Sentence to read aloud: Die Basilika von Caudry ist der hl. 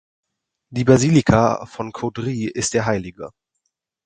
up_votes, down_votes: 2, 4